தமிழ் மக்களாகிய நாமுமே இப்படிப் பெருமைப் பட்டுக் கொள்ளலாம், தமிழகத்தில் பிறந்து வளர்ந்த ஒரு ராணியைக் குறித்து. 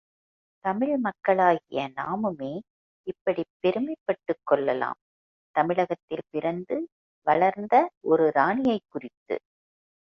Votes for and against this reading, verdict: 1, 2, rejected